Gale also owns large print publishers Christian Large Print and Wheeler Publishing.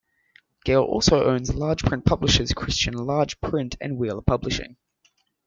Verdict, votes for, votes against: accepted, 2, 0